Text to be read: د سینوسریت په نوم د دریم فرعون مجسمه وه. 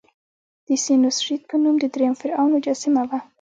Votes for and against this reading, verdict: 1, 2, rejected